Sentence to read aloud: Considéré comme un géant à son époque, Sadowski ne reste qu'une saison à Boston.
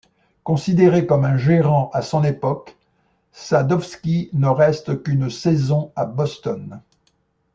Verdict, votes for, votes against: rejected, 0, 2